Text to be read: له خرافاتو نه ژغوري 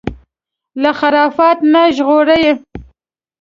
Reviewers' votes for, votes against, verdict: 2, 0, accepted